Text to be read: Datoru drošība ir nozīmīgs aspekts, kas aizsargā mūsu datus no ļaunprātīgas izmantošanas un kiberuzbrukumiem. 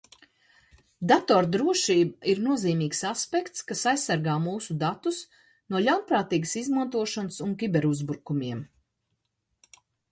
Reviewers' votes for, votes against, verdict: 1, 2, rejected